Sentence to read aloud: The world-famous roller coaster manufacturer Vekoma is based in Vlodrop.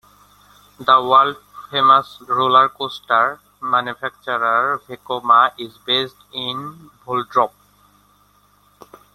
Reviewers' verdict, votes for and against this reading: rejected, 1, 2